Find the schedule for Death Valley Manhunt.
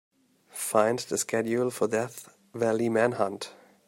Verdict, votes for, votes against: rejected, 1, 2